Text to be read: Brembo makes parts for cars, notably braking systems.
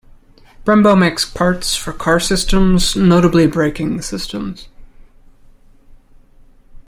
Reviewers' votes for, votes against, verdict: 0, 2, rejected